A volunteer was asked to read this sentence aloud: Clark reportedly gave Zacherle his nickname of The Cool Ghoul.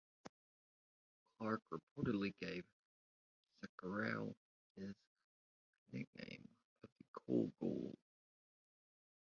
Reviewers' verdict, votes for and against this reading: rejected, 0, 2